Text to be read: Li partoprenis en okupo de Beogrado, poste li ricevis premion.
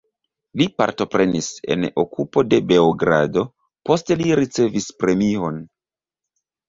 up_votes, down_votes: 1, 2